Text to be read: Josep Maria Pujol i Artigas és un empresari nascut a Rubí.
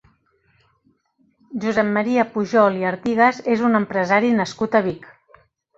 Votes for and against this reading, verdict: 1, 2, rejected